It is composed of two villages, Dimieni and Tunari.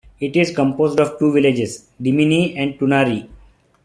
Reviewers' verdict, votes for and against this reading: accepted, 3, 2